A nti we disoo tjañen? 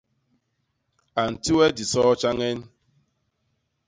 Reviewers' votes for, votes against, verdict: 2, 0, accepted